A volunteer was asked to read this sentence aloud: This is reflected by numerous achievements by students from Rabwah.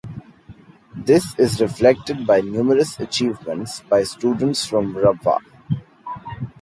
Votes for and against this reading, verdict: 3, 0, accepted